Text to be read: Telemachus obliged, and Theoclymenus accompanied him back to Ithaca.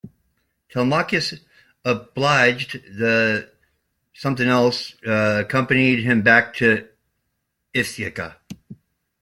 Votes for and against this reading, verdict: 0, 2, rejected